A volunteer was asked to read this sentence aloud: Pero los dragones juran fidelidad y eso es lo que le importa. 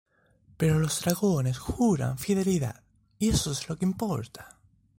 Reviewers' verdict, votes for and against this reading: accepted, 2, 1